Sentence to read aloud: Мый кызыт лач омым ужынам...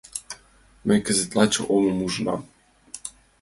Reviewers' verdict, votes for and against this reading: accepted, 2, 0